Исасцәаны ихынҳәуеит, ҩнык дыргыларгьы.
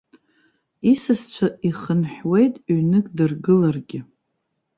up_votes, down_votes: 1, 2